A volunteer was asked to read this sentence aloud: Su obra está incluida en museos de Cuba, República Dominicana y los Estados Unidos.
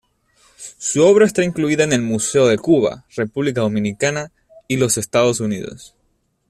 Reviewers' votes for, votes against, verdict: 1, 2, rejected